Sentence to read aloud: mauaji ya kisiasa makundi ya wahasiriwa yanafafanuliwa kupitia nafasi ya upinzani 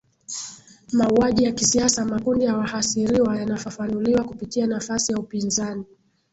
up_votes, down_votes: 2, 0